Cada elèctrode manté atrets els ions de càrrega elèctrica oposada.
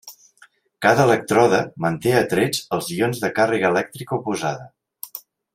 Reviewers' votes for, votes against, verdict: 2, 0, accepted